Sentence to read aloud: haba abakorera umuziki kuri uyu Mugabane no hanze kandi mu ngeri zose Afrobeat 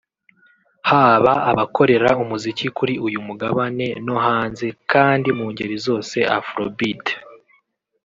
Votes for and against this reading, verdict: 3, 1, accepted